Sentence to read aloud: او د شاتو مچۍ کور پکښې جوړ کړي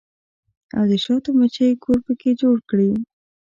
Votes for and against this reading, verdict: 2, 0, accepted